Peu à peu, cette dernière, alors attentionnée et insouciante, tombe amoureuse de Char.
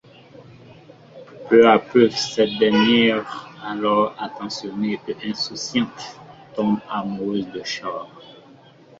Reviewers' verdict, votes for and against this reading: accepted, 2, 1